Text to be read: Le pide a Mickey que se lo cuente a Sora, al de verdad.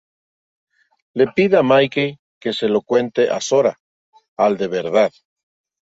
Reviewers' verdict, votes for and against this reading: accepted, 3, 0